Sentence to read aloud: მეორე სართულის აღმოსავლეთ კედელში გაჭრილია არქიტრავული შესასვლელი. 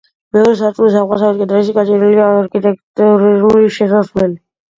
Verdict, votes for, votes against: rejected, 1, 2